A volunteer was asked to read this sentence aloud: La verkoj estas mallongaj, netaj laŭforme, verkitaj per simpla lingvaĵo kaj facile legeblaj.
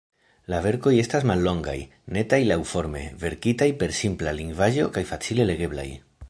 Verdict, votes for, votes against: accepted, 2, 1